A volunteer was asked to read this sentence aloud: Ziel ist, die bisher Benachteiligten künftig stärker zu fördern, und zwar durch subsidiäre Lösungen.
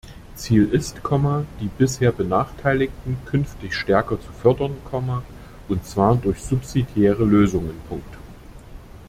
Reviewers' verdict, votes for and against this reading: rejected, 1, 2